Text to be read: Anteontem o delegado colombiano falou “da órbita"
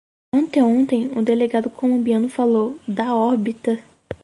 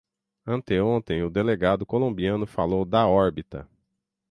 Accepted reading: first